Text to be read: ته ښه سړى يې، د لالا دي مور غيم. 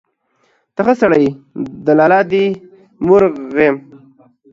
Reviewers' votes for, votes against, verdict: 1, 2, rejected